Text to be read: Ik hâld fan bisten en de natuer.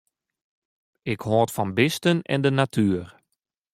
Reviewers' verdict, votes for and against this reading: rejected, 1, 2